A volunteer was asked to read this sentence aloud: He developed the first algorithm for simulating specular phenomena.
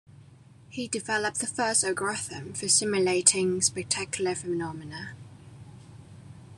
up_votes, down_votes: 0, 2